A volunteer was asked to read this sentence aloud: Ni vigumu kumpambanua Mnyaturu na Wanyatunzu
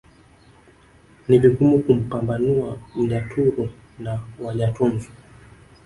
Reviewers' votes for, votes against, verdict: 1, 2, rejected